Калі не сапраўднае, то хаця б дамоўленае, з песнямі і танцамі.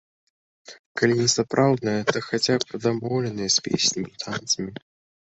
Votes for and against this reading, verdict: 2, 1, accepted